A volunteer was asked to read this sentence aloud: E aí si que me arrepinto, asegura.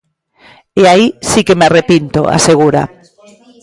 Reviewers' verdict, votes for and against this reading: accepted, 2, 0